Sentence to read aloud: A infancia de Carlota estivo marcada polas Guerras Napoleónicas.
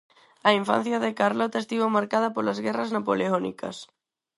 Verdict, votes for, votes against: accepted, 6, 0